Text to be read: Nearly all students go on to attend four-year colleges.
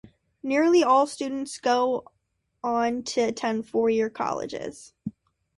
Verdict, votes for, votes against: accepted, 2, 0